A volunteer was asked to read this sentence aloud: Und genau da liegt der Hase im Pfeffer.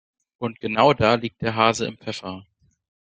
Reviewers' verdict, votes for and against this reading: accepted, 2, 0